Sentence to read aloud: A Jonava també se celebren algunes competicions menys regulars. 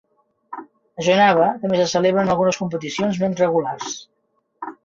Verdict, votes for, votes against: rejected, 1, 2